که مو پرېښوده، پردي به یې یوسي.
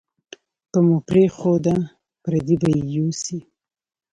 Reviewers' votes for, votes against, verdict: 2, 0, accepted